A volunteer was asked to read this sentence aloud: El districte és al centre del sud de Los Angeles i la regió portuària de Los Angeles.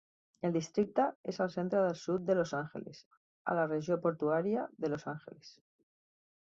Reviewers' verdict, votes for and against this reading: rejected, 1, 2